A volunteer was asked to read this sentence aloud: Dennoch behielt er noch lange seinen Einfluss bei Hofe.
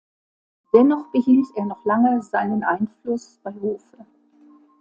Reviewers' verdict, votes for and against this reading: accepted, 2, 0